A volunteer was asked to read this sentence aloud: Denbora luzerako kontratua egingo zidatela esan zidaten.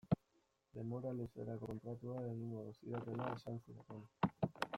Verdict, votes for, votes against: rejected, 0, 2